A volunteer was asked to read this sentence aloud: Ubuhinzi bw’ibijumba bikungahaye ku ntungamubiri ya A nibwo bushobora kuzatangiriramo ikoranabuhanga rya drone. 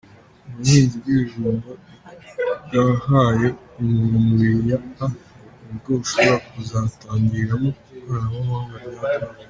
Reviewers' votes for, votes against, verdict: 1, 2, rejected